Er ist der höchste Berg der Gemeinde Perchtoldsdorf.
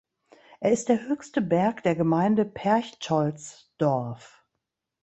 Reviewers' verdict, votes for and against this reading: rejected, 0, 2